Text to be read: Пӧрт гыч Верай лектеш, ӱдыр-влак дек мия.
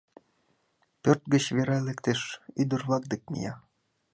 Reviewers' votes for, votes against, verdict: 2, 0, accepted